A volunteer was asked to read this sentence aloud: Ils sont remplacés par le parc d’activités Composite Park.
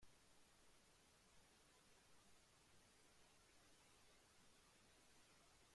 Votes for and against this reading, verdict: 0, 2, rejected